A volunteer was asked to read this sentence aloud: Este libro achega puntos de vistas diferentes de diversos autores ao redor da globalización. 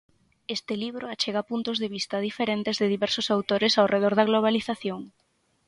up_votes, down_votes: 3, 3